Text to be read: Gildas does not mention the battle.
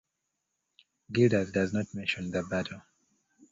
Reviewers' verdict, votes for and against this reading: accepted, 2, 0